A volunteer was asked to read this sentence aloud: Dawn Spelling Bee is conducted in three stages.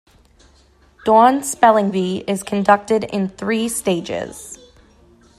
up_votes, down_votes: 2, 0